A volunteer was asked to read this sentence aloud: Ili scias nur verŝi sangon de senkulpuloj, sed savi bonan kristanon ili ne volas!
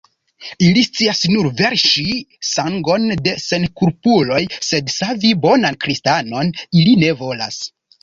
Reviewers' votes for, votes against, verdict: 1, 2, rejected